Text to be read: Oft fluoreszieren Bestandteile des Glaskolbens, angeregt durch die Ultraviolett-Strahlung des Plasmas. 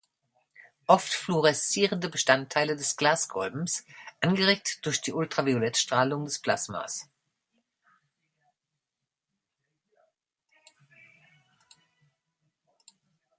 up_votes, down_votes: 0, 2